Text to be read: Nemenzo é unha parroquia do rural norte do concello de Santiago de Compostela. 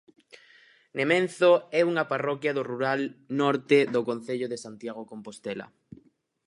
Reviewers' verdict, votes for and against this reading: rejected, 0, 4